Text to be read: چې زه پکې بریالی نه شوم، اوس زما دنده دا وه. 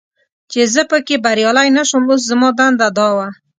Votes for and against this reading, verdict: 2, 0, accepted